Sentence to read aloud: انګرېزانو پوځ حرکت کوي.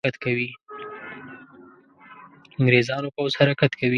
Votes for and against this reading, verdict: 1, 2, rejected